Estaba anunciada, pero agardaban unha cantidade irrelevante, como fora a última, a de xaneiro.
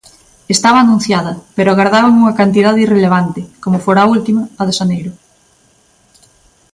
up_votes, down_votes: 2, 0